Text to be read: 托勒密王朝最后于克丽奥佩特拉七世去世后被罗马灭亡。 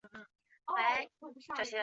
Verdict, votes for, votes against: rejected, 1, 2